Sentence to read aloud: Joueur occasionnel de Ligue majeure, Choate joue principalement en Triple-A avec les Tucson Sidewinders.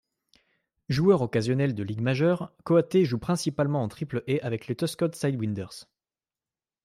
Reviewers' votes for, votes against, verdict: 1, 2, rejected